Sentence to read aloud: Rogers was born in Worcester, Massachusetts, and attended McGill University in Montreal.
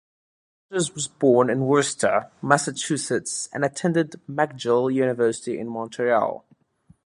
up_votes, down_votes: 1, 2